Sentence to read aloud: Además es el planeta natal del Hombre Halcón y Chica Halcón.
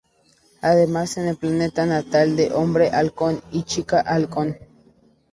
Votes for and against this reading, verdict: 0, 4, rejected